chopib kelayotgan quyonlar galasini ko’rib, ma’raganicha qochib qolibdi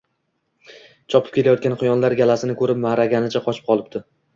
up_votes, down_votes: 2, 0